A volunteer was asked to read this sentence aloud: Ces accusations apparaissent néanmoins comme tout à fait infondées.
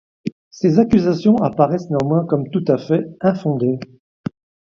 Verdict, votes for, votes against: accepted, 2, 0